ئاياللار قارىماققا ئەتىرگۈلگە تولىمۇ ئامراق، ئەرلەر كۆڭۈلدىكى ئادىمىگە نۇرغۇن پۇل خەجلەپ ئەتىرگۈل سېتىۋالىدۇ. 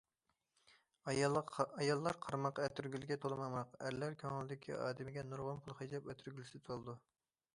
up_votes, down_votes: 0, 2